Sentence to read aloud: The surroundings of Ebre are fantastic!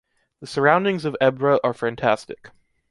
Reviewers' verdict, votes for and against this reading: accepted, 2, 0